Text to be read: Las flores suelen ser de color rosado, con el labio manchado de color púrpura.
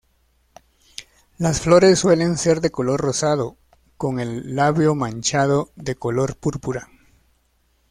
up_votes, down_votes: 2, 0